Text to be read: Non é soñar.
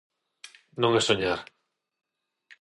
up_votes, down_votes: 6, 0